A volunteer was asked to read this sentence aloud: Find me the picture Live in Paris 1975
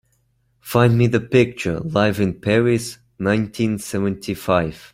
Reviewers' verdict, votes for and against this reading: rejected, 0, 2